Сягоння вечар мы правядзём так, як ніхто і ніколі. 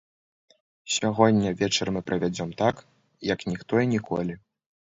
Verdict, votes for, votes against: accepted, 2, 0